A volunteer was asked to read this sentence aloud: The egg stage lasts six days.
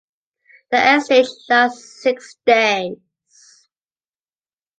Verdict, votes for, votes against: accepted, 2, 0